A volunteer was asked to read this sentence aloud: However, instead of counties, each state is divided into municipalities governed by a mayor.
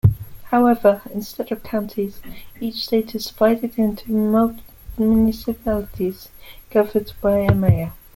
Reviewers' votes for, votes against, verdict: 0, 2, rejected